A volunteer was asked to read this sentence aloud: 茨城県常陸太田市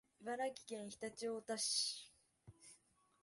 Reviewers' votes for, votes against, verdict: 6, 1, accepted